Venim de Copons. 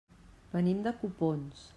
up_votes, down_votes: 2, 0